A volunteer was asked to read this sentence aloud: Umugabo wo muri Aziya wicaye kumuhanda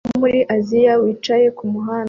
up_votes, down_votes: 0, 2